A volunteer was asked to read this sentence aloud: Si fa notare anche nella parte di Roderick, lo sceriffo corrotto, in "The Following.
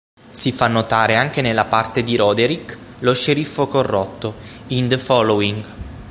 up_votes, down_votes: 9, 0